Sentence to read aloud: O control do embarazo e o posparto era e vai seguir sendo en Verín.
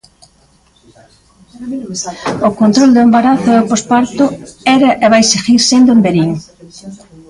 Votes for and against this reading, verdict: 1, 2, rejected